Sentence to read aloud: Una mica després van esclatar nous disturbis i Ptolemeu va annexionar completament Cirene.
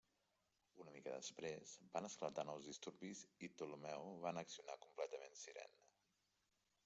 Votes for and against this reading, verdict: 1, 2, rejected